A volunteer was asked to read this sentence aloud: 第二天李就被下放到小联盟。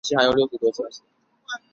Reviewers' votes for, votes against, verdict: 1, 2, rejected